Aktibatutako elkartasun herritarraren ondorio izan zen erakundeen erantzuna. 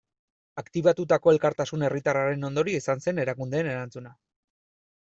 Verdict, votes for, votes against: accepted, 2, 0